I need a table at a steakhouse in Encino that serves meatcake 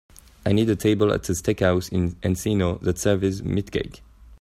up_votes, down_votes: 2, 0